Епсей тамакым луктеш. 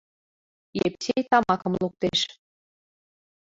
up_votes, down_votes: 0, 2